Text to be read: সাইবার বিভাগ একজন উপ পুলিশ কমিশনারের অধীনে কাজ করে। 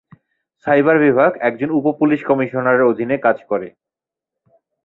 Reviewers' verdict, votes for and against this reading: rejected, 0, 2